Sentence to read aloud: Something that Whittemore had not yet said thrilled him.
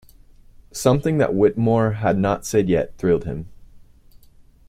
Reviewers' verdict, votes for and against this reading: rejected, 0, 2